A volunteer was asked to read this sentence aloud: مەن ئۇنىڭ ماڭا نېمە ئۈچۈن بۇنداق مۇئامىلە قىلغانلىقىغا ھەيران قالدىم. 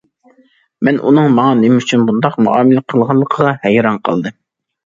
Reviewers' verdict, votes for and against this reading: accepted, 2, 0